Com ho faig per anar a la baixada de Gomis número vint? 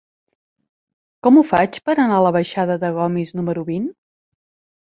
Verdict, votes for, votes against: accepted, 3, 0